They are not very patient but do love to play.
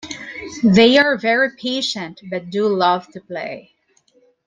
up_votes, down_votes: 2, 1